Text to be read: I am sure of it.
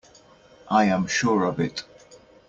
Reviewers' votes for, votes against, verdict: 2, 0, accepted